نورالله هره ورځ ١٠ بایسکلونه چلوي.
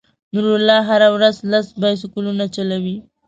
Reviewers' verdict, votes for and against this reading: rejected, 0, 2